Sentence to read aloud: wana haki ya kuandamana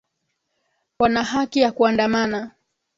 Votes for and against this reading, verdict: 3, 4, rejected